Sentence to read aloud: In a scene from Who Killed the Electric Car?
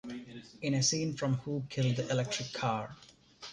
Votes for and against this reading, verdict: 1, 2, rejected